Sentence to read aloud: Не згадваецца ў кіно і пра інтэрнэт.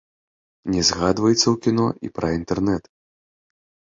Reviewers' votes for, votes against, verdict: 2, 0, accepted